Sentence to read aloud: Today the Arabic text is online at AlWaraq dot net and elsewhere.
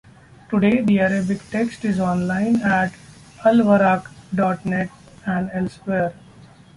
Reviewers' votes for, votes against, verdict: 2, 1, accepted